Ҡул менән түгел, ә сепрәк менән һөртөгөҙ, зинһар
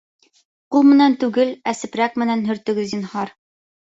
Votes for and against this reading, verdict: 4, 0, accepted